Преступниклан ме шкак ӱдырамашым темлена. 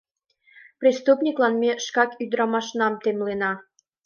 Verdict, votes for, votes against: rejected, 1, 2